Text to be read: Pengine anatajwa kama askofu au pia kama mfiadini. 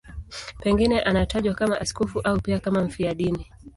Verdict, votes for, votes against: accepted, 2, 0